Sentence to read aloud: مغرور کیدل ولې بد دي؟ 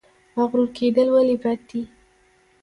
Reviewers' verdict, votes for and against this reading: accepted, 2, 1